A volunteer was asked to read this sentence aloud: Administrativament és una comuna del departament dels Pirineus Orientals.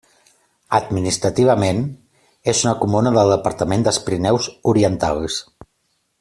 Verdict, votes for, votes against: accepted, 2, 0